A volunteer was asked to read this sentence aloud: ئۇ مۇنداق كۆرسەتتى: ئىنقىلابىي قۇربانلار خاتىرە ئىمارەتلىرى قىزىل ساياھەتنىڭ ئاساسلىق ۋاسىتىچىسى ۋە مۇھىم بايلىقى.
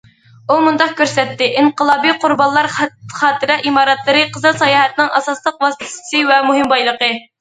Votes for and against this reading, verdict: 0, 2, rejected